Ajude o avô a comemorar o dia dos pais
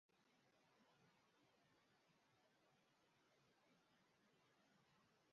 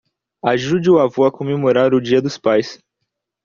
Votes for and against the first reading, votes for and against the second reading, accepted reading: 0, 2, 2, 0, second